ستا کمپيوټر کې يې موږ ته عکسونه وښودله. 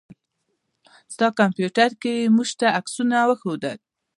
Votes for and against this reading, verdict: 1, 2, rejected